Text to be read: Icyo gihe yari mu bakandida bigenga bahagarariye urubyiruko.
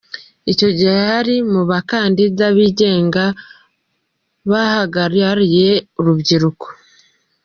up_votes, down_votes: 0, 2